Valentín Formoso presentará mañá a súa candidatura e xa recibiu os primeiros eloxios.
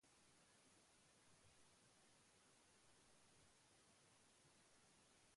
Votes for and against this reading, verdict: 0, 2, rejected